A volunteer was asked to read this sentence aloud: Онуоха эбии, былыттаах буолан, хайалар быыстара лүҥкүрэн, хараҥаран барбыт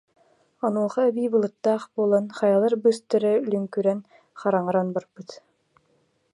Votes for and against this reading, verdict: 2, 0, accepted